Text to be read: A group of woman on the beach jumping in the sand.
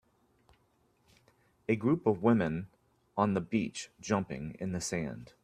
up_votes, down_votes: 1, 2